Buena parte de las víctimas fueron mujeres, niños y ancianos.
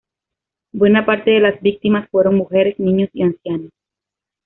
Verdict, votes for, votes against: accepted, 2, 0